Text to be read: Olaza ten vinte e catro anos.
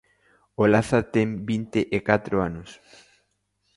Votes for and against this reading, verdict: 2, 0, accepted